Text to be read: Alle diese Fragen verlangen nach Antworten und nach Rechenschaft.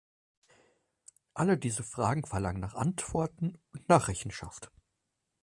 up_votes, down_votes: 4, 2